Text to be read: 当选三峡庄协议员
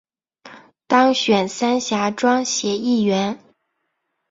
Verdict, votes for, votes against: accepted, 3, 0